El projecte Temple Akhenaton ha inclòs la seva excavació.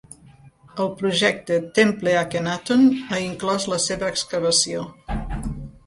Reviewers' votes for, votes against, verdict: 2, 0, accepted